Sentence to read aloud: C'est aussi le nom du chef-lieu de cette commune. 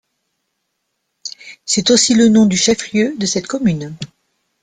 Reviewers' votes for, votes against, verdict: 2, 0, accepted